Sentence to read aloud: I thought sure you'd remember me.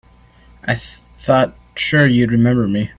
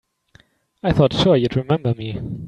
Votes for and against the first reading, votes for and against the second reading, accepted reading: 0, 2, 2, 1, second